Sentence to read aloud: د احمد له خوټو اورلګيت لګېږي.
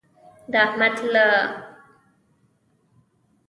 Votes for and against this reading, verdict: 0, 2, rejected